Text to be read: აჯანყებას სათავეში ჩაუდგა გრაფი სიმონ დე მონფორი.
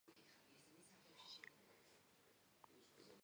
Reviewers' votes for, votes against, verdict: 0, 2, rejected